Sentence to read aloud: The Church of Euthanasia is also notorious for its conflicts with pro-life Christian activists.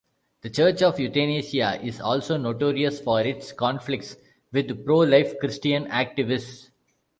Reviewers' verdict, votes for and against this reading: rejected, 0, 2